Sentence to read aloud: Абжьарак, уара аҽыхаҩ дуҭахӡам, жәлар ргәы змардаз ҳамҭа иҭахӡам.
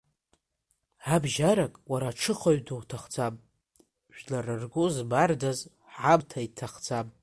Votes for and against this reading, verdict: 2, 1, accepted